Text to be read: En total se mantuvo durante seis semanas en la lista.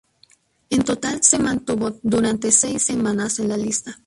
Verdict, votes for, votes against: accepted, 2, 0